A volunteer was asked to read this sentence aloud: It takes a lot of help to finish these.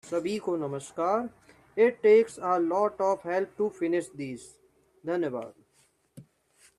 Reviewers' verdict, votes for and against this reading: rejected, 0, 2